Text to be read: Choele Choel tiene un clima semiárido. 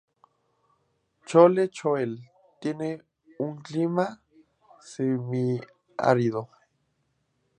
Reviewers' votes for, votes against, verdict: 0, 2, rejected